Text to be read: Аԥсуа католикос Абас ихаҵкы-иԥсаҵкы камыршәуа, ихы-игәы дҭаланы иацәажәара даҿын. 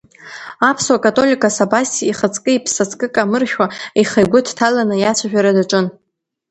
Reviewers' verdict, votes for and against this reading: accepted, 2, 0